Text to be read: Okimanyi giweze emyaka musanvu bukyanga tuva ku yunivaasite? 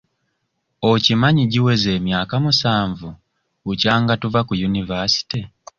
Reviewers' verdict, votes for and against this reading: accepted, 2, 0